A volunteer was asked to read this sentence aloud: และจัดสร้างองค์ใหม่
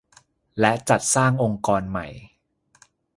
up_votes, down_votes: 0, 2